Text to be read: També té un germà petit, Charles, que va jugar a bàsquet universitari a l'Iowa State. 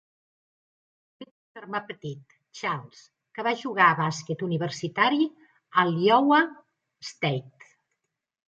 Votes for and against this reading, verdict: 0, 2, rejected